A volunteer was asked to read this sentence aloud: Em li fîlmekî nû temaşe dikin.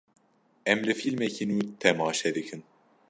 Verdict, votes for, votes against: accepted, 2, 0